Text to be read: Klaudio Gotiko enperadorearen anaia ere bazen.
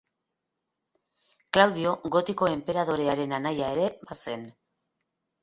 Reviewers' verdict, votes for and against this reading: accepted, 3, 1